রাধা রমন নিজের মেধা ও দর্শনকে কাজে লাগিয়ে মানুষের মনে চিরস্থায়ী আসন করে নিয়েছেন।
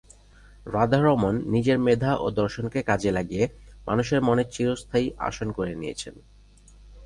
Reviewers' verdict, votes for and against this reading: rejected, 0, 2